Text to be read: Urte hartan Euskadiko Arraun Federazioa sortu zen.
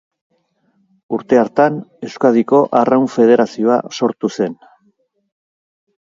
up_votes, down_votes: 2, 0